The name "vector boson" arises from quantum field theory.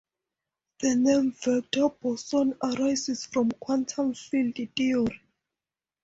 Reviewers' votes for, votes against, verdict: 4, 0, accepted